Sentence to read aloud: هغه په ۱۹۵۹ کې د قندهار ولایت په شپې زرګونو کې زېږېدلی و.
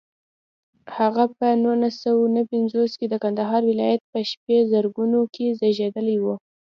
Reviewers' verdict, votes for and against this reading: rejected, 0, 2